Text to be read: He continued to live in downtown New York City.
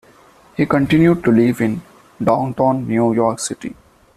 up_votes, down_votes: 1, 2